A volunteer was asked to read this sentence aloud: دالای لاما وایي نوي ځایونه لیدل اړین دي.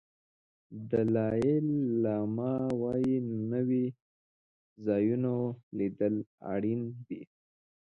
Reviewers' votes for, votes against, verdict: 1, 2, rejected